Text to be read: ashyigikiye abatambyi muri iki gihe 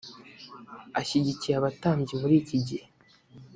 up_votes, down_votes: 2, 0